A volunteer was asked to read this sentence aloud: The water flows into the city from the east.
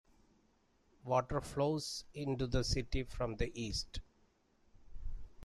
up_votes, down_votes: 2, 1